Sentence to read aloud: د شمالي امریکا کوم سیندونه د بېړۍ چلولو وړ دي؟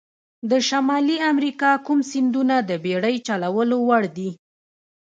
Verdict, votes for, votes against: rejected, 1, 2